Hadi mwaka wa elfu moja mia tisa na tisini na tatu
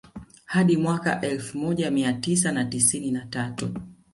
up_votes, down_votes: 0, 2